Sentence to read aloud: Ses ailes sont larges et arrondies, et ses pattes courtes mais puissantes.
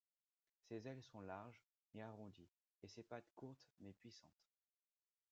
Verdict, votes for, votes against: rejected, 1, 2